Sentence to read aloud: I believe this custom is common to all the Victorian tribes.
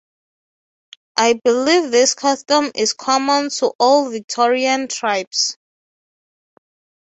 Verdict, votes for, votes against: rejected, 3, 3